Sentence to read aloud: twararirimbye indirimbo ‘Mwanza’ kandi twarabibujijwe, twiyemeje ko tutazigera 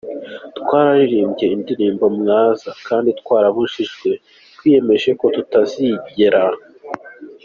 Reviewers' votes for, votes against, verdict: 2, 0, accepted